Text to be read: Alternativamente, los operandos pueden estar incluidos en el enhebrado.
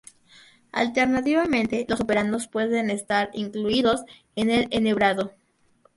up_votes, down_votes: 4, 0